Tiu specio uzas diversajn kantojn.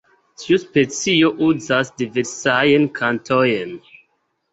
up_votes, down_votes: 2, 1